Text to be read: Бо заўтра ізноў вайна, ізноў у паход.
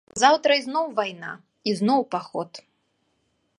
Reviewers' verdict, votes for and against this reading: rejected, 1, 2